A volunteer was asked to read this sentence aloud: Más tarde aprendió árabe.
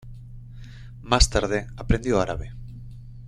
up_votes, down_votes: 2, 0